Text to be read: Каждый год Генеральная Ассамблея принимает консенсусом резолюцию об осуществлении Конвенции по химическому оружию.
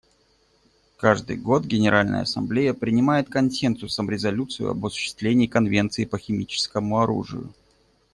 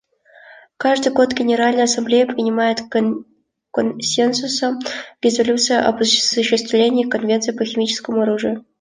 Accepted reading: first